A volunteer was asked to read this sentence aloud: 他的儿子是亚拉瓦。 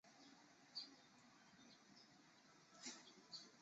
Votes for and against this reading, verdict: 0, 4, rejected